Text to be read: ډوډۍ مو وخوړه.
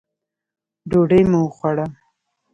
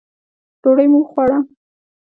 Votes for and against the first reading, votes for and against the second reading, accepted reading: 2, 0, 0, 2, first